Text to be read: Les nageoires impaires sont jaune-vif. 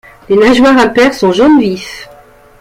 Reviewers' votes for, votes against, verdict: 2, 1, accepted